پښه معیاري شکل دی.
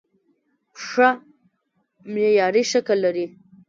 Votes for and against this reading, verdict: 2, 0, accepted